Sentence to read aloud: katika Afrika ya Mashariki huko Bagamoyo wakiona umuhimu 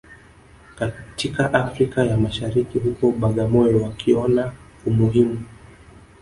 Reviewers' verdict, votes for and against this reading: accepted, 2, 0